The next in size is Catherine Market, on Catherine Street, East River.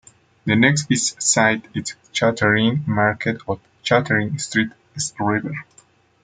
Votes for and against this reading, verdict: 0, 2, rejected